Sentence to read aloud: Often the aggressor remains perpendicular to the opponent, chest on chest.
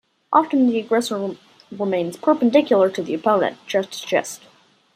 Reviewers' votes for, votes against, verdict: 0, 2, rejected